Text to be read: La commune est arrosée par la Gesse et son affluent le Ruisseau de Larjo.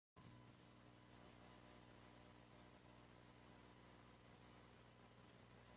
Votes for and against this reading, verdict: 1, 2, rejected